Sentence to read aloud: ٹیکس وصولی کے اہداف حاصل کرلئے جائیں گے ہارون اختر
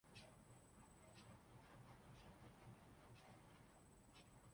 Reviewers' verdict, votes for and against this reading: rejected, 0, 2